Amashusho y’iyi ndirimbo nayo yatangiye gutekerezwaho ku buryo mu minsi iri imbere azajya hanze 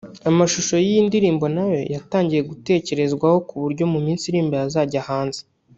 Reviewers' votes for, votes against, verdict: 1, 2, rejected